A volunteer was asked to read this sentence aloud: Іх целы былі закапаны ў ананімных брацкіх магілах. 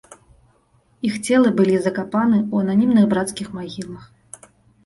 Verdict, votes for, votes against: accepted, 2, 0